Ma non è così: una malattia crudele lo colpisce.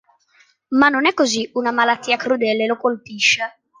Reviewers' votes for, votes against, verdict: 2, 0, accepted